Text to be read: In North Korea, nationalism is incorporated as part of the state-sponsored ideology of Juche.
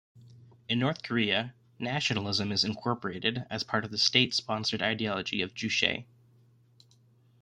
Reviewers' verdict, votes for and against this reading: accepted, 2, 0